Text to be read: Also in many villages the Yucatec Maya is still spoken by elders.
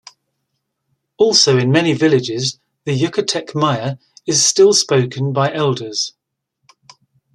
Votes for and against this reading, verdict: 2, 0, accepted